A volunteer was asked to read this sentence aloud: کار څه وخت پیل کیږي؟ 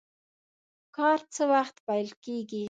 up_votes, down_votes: 2, 0